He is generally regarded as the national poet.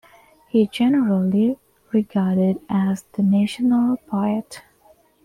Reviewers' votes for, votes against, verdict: 0, 2, rejected